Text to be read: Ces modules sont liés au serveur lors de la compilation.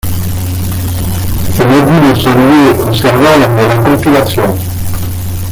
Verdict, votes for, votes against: rejected, 0, 2